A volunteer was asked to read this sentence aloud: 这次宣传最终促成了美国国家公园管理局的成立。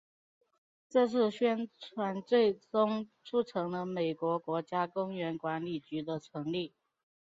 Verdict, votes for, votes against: accepted, 3, 1